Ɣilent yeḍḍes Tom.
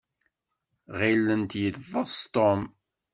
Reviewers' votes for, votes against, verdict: 1, 2, rejected